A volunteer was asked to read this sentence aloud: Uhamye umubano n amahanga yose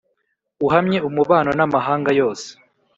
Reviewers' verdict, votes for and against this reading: accepted, 2, 0